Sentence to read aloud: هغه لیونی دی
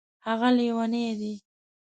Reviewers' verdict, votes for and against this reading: accepted, 2, 0